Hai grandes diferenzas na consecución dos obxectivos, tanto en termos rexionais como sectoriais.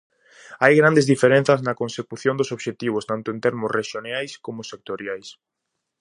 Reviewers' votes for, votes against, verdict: 0, 4, rejected